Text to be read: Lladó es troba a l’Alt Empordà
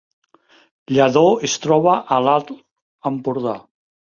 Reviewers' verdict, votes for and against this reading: rejected, 0, 2